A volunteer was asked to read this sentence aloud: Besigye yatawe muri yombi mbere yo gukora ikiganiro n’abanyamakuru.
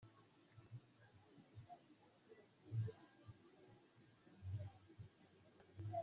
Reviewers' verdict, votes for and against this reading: rejected, 0, 2